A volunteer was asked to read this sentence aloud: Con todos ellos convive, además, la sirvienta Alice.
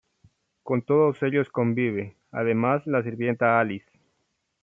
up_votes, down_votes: 1, 2